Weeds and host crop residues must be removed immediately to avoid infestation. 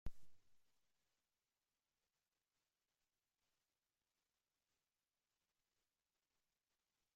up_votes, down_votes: 0, 2